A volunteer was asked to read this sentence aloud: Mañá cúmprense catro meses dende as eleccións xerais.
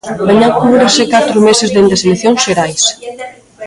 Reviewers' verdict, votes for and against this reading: rejected, 0, 2